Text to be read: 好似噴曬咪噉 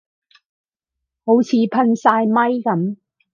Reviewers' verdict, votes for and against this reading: accepted, 2, 0